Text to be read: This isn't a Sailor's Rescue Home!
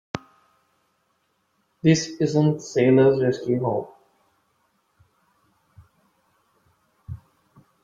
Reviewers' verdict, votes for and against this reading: rejected, 1, 2